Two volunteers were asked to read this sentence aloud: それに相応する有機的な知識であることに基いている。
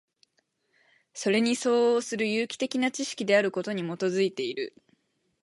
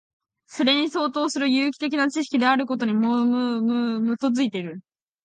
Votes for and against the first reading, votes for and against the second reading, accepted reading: 4, 2, 1, 2, first